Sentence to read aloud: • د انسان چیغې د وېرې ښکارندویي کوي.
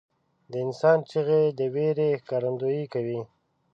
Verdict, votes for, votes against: rejected, 1, 2